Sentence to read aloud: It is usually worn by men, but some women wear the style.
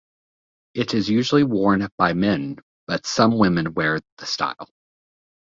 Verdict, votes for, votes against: accepted, 2, 0